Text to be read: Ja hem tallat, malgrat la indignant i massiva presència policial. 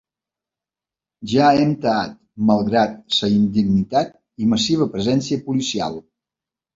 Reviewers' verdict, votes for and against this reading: rejected, 0, 2